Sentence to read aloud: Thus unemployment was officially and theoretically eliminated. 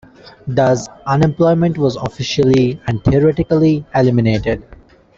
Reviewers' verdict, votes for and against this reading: accepted, 2, 0